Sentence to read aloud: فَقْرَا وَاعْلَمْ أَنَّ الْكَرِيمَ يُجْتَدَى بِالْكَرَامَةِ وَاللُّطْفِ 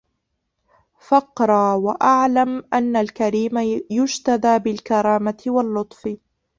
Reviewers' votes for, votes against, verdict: 1, 2, rejected